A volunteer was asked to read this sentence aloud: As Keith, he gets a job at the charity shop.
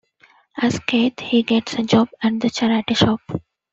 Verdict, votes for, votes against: accepted, 2, 0